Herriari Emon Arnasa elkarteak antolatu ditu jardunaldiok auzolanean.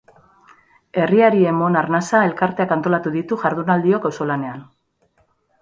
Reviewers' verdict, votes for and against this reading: accepted, 2, 0